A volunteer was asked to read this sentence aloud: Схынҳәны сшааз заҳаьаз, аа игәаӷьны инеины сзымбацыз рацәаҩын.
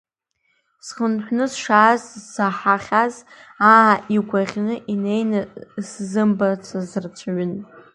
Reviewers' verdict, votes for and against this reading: accepted, 2, 1